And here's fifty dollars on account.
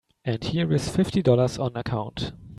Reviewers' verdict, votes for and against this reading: accepted, 2, 1